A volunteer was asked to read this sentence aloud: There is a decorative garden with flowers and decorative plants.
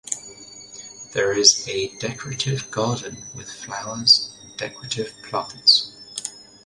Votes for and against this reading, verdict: 2, 0, accepted